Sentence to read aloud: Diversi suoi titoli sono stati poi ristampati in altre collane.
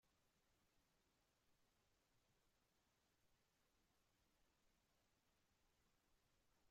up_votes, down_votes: 0, 2